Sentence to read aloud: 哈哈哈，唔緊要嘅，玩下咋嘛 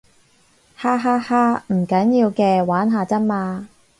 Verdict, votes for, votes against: accepted, 4, 0